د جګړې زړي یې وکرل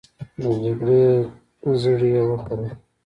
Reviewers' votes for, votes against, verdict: 2, 0, accepted